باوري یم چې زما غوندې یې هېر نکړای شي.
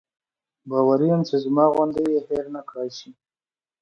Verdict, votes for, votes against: accepted, 2, 0